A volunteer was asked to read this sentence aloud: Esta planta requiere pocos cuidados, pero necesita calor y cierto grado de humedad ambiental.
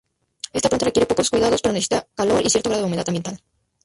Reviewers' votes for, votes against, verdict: 2, 0, accepted